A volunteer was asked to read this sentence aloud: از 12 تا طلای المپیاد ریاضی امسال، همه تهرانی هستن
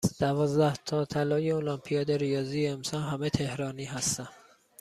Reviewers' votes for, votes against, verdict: 0, 2, rejected